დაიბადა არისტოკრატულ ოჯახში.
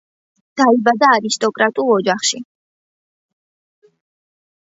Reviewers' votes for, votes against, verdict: 2, 0, accepted